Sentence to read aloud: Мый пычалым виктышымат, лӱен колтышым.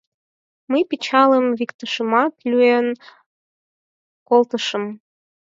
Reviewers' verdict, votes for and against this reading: rejected, 2, 6